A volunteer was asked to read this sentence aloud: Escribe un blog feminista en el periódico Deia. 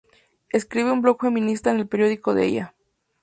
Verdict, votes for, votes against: rejected, 0, 2